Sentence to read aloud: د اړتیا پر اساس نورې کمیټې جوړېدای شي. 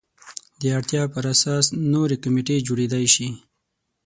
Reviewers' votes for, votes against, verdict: 6, 0, accepted